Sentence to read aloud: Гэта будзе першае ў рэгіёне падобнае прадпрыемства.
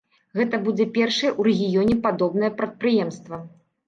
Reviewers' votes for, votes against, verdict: 0, 2, rejected